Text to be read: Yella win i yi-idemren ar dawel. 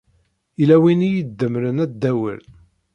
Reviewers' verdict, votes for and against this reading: rejected, 1, 2